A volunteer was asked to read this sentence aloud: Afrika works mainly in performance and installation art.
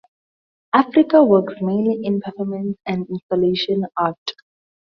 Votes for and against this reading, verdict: 2, 0, accepted